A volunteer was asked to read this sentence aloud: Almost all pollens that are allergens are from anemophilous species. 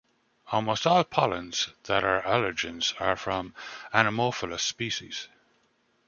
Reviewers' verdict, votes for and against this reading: accepted, 2, 0